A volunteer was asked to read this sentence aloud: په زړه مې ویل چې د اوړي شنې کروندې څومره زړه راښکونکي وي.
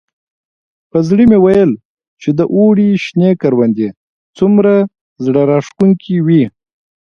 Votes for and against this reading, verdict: 2, 0, accepted